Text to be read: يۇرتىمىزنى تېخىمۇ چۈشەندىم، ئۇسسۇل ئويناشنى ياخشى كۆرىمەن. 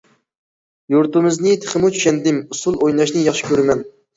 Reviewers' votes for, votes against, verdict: 2, 0, accepted